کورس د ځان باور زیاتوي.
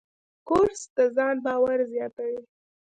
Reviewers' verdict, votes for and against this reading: rejected, 1, 2